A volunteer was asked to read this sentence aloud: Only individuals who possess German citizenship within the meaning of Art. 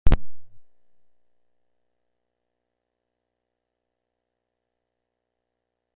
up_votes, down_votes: 0, 2